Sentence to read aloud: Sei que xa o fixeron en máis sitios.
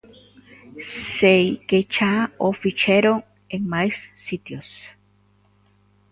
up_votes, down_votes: 1, 2